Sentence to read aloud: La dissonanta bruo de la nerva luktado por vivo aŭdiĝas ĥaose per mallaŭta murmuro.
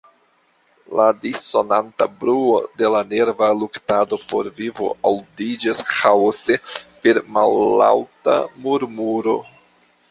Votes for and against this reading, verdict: 2, 0, accepted